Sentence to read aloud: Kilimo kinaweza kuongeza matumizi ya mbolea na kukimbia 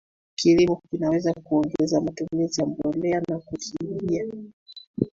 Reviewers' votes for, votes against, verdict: 1, 2, rejected